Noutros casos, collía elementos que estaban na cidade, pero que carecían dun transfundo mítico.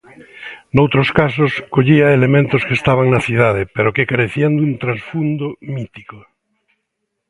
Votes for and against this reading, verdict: 2, 0, accepted